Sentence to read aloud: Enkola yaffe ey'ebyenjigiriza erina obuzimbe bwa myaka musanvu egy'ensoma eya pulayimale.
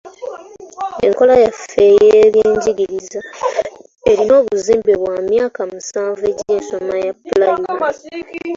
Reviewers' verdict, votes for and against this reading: rejected, 1, 2